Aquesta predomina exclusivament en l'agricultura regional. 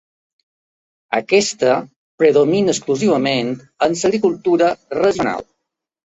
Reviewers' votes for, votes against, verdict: 0, 2, rejected